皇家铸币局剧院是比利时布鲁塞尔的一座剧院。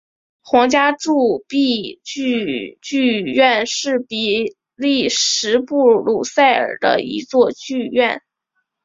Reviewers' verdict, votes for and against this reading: rejected, 0, 4